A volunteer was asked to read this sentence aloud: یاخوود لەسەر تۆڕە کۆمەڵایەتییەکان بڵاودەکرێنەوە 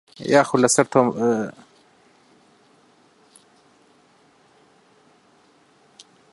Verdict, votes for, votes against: rejected, 0, 2